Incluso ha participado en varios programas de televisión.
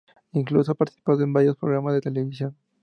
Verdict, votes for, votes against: rejected, 2, 2